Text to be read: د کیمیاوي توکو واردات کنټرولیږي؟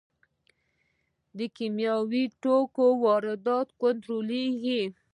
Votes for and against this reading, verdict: 2, 0, accepted